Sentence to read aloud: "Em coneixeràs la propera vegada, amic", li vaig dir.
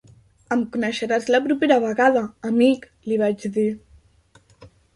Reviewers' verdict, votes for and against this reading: accepted, 3, 0